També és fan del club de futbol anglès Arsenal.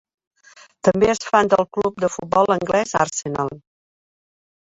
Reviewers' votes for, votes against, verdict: 2, 0, accepted